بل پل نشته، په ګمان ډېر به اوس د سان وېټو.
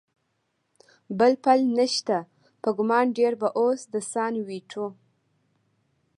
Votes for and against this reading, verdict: 2, 1, accepted